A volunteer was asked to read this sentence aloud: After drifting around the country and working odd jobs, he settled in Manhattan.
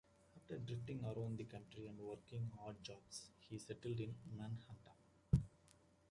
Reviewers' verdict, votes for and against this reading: accepted, 2, 1